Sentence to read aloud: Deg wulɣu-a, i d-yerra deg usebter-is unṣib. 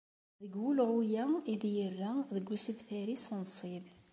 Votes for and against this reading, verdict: 2, 0, accepted